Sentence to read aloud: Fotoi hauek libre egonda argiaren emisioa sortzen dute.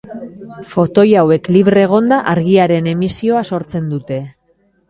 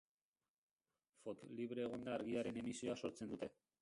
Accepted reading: first